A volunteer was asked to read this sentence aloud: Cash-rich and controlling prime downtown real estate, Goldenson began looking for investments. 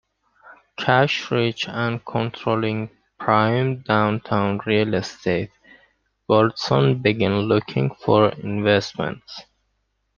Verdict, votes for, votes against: accepted, 2, 1